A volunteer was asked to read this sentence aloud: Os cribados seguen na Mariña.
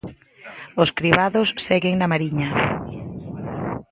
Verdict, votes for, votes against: accepted, 2, 0